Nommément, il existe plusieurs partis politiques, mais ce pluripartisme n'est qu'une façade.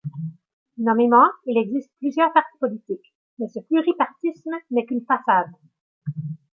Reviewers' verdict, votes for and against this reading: rejected, 0, 2